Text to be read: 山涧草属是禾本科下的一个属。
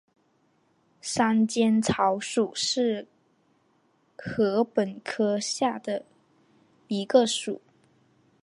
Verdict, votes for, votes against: accepted, 6, 1